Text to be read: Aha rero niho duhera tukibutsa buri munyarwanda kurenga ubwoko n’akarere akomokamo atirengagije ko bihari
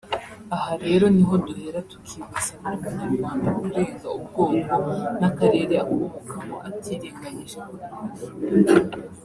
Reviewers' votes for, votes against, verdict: 1, 2, rejected